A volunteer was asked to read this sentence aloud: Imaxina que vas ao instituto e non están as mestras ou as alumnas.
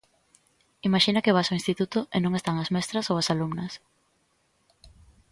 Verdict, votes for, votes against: accepted, 3, 0